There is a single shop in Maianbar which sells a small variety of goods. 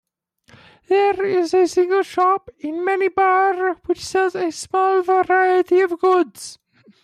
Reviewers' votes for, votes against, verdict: 0, 2, rejected